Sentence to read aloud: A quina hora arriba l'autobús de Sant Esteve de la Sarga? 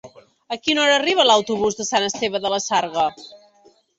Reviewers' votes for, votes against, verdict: 4, 0, accepted